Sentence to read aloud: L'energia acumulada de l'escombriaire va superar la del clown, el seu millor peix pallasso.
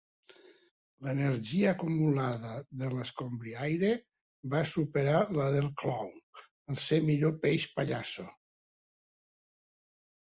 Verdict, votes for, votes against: rejected, 1, 2